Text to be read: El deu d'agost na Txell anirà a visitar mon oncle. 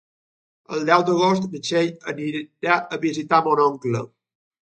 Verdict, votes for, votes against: rejected, 0, 2